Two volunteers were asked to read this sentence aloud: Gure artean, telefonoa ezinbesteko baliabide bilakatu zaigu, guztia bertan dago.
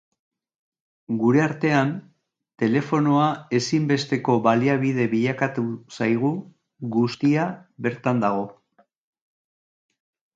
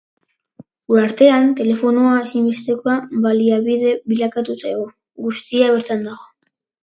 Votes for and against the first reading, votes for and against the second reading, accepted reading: 2, 0, 1, 2, first